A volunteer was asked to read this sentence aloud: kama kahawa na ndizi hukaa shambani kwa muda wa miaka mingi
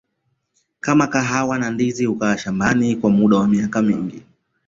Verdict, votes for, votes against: accepted, 2, 0